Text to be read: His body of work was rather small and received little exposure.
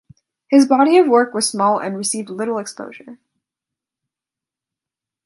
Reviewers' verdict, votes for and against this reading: rejected, 0, 2